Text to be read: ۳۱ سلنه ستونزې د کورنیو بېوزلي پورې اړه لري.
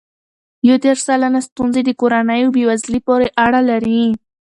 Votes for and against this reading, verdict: 0, 2, rejected